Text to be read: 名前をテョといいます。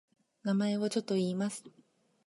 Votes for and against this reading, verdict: 1, 3, rejected